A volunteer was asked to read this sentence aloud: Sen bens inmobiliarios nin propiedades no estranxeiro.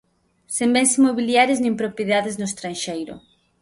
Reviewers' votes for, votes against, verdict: 2, 0, accepted